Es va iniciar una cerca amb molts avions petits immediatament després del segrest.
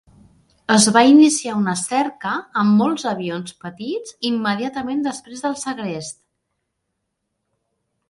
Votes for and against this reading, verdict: 4, 0, accepted